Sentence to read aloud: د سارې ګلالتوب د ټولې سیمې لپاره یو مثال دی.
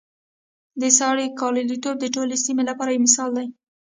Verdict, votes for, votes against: accepted, 2, 0